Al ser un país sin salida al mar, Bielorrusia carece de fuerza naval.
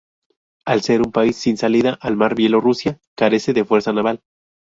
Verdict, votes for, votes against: accepted, 2, 0